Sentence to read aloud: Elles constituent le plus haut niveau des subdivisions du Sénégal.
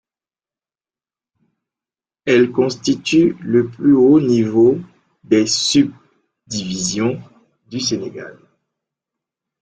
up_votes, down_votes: 1, 2